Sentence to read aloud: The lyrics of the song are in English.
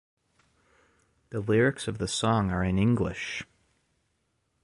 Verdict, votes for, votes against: accepted, 2, 0